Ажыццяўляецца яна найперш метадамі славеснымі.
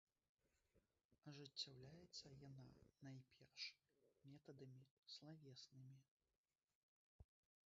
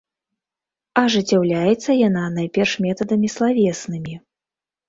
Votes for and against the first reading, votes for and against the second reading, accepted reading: 1, 2, 2, 0, second